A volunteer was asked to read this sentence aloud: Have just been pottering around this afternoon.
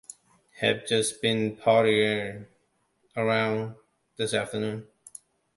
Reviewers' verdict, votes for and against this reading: accepted, 2, 1